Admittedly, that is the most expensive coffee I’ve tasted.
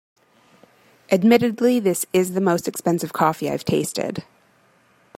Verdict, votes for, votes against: rejected, 0, 2